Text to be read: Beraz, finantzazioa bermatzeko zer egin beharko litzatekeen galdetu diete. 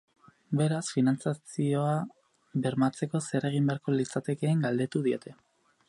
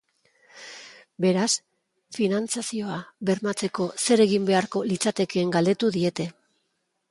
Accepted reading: second